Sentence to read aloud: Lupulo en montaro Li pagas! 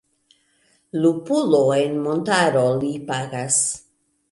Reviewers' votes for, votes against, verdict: 2, 0, accepted